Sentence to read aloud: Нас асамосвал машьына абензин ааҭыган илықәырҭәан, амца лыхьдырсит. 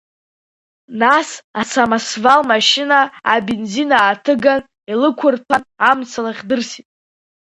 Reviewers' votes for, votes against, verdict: 5, 4, accepted